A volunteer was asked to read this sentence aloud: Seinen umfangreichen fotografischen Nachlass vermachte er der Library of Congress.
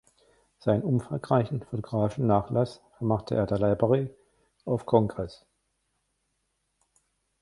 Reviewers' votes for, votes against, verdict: 1, 2, rejected